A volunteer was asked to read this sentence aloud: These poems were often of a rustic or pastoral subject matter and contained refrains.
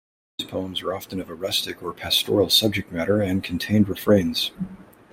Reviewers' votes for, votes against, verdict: 2, 0, accepted